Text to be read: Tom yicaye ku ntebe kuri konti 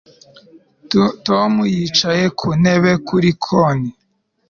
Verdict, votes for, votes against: rejected, 0, 2